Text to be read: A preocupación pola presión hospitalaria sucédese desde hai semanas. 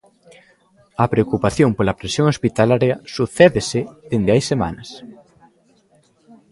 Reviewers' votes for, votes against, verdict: 1, 2, rejected